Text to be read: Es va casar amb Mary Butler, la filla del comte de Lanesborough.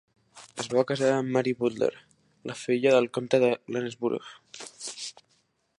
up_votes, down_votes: 1, 3